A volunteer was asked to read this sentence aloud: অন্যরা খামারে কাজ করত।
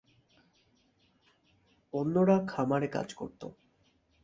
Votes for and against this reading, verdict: 2, 0, accepted